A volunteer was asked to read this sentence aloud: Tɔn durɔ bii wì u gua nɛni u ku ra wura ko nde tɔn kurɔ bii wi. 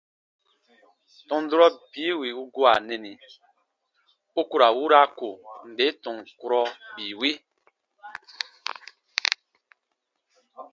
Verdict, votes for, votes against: accepted, 2, 0